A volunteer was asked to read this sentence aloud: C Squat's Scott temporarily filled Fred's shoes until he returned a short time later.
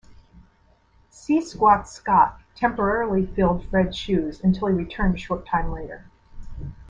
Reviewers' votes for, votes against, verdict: 2, 0, accepted